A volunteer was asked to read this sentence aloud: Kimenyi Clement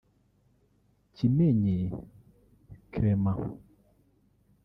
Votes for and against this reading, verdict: 1, 2, rejected